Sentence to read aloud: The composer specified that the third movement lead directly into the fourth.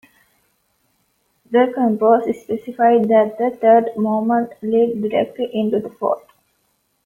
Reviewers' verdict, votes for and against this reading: accepted, 2, 0